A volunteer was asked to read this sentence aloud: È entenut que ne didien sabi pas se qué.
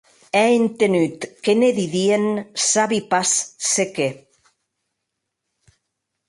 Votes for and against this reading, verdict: 2, 0, accepted